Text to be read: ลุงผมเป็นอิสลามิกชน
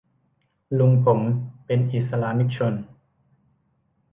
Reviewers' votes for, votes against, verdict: 0, 2, rejected